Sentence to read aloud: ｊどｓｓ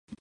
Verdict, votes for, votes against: rejected, 0, 3